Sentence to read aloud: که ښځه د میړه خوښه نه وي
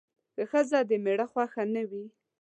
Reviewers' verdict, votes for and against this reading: accepted, 2, 0